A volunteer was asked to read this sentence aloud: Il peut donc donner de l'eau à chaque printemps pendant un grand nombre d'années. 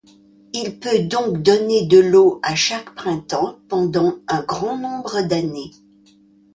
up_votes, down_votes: 2, 0